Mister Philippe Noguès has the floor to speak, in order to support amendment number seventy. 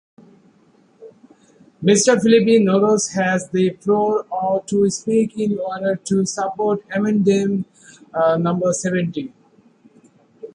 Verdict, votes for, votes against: rejected, 0, 2